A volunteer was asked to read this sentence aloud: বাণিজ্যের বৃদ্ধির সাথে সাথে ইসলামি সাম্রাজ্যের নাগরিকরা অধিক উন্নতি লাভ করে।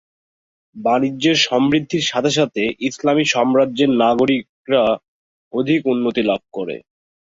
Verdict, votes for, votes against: rejected, 0, 2